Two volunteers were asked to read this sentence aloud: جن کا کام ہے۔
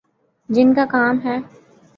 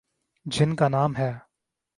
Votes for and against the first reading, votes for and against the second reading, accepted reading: 9, 0, 3, 4, first